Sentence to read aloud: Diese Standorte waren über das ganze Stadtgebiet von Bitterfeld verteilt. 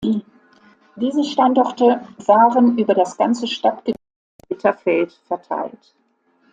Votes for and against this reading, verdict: 0, 2, rejected